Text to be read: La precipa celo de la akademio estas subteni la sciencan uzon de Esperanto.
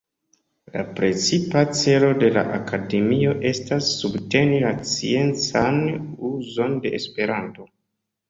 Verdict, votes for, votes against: accepted, 2, 0